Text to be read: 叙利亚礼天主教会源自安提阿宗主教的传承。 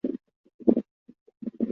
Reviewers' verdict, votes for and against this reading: rejected, 0, 3